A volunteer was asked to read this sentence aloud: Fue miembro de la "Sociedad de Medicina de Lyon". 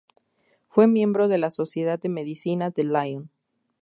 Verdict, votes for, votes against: accepted, 2, 0